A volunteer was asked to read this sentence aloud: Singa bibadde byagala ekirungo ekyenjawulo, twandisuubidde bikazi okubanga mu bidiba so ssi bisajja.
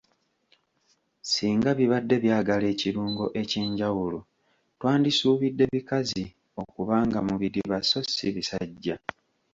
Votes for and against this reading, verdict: 4, 0, accepted